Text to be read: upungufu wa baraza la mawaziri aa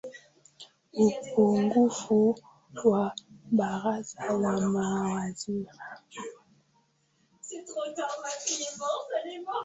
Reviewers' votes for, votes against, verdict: 0, 2, rejected